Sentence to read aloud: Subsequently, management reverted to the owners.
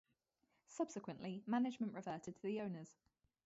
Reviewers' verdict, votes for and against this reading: rejected, 2, 2